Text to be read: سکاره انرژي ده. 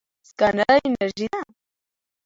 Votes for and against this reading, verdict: 2, 0, accepted